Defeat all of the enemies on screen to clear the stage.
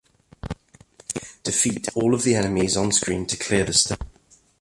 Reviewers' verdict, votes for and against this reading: rejected, 1, 2